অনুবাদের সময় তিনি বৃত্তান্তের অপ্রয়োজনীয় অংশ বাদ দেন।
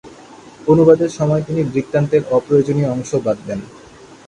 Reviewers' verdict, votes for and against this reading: accepted, 4, 0